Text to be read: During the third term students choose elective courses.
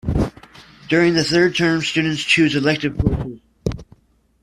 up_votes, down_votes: 1, 2